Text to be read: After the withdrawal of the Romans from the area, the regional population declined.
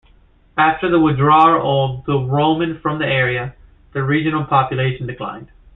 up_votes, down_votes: 1, 2